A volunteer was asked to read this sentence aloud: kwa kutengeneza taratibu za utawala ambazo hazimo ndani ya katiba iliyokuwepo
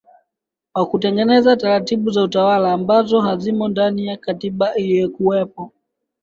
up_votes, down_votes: 1, 2